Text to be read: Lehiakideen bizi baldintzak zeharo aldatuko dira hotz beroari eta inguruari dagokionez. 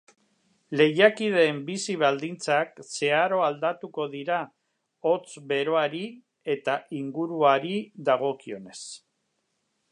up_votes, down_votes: 2, 0